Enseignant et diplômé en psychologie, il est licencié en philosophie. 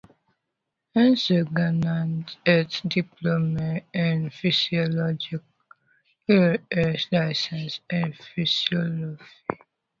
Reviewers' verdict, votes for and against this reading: rejected, 0, 2